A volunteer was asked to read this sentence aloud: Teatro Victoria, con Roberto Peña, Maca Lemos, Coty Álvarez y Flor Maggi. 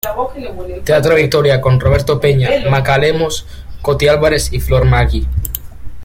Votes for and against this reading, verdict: 1, 2, rejected